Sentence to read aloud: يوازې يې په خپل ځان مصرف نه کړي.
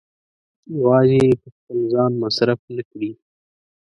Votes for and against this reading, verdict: 2, 0, accepted